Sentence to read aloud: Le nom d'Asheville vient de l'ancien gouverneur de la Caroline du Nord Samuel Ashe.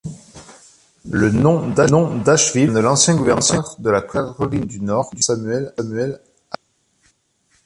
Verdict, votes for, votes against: rejected, 0, 2